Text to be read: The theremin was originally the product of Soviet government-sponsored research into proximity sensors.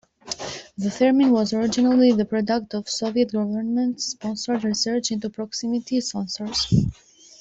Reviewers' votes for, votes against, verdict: 1, 2, rejected